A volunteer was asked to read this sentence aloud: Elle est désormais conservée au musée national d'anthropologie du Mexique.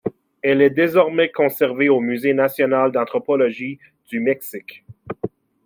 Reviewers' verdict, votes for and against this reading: accepted, 2, 0